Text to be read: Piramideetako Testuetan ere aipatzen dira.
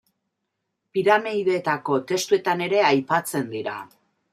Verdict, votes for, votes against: accepted, 2, 0